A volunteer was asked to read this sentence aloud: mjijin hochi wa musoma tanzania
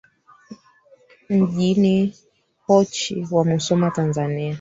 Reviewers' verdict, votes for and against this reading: rejected, 1, 3